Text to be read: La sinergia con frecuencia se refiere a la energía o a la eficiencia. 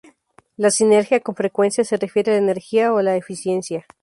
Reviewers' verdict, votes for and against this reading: accepted, 2, 0